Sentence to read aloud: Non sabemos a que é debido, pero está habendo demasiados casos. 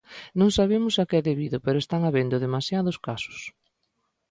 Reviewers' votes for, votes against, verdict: 0, 2, rejected